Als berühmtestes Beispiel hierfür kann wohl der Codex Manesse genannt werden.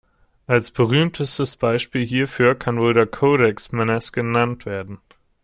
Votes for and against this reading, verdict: 0, 2, rejected